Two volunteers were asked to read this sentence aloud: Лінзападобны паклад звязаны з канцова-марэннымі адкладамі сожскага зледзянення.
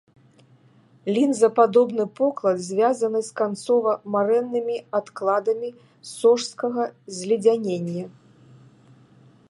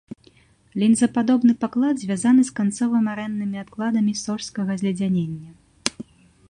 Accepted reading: second